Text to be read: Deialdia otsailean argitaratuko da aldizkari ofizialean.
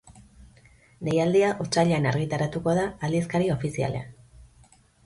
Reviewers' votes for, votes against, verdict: 2, 0, accepted